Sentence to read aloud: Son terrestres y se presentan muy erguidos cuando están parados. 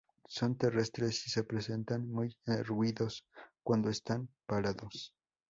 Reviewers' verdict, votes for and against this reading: rejected, 0, 2